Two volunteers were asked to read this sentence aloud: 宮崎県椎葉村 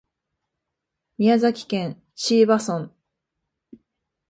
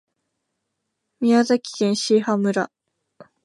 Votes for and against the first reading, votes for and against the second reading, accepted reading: 2, 1, 1, 2, first